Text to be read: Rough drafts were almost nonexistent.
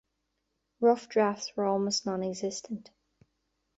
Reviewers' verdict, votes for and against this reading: accepted, 2, 0